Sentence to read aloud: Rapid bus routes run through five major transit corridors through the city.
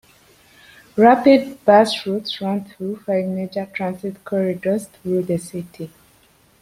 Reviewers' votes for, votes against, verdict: 2, 0, accepted